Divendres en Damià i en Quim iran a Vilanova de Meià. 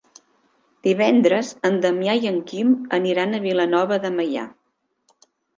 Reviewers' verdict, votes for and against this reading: rejected, 0, 2